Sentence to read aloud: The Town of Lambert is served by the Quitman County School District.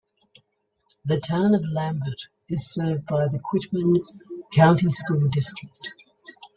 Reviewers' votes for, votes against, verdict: 2, 0, accepted